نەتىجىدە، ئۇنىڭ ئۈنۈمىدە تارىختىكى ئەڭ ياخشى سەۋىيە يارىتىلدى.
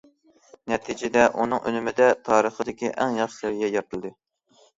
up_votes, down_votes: 1, 2